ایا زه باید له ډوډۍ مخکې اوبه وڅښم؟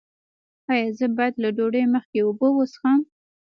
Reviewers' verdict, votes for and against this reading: rejected, 1, 2